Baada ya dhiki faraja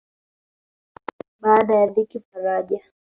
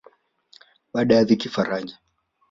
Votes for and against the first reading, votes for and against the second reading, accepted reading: 0, 2, 2, 0, second